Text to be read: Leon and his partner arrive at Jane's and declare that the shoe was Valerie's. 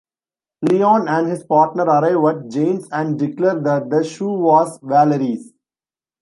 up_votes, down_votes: 2, 0